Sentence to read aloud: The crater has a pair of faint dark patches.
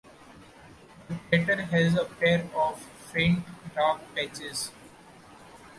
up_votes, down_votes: 1, 2